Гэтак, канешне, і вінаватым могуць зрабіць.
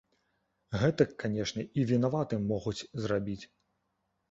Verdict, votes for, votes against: accepted, 2, 0